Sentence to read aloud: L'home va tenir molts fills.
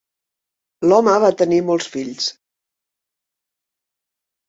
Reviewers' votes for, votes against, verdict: 3, 0, accepted